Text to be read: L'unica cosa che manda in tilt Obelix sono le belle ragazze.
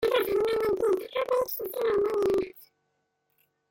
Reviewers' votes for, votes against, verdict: 0, 2, rejected